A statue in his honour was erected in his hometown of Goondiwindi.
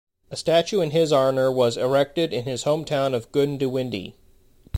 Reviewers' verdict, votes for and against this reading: accepted, 2, 0